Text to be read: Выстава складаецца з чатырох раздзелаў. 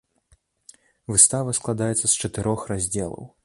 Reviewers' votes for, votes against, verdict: 2, 0, accepted